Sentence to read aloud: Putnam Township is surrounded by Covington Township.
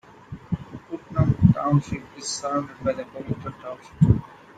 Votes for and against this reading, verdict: 1, 2, rejected